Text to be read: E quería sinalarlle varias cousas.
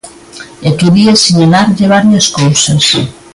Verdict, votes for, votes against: accepted, 2, 0